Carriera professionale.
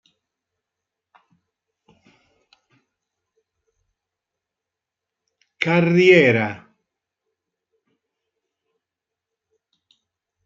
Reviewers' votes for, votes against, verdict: 0, 2, rejected